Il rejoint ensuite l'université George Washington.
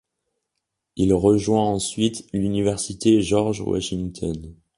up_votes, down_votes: 2, 0